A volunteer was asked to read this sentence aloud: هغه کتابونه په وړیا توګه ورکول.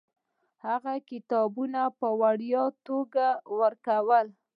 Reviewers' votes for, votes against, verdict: 2, 1, accepted